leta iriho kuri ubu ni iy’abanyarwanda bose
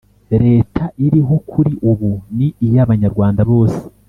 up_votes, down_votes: 2, 0